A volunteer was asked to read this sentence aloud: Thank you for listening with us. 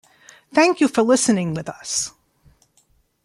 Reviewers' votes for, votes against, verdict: 2, 0, accepted